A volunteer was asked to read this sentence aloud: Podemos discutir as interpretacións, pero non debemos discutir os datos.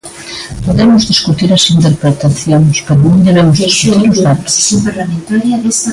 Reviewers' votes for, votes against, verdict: 0, 2, rejected